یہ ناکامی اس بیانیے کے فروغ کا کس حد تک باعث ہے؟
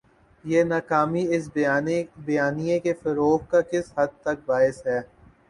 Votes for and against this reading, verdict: 0, 2, rejected